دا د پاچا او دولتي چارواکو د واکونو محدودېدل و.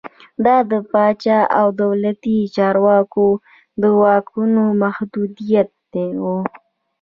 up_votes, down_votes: 1, 2